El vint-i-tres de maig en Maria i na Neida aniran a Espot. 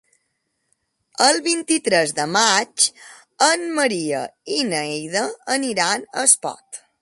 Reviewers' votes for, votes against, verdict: 4, 3, accepted